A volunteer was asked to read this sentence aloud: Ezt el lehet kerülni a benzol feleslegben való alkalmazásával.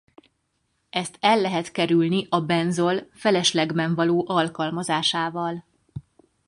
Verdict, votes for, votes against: accepted, 4, 0